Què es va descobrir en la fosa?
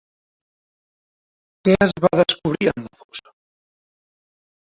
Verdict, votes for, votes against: rejected, 0, 2